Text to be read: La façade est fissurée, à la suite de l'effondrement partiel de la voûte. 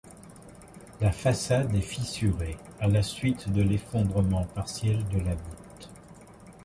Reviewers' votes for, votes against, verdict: 2, 0, accepted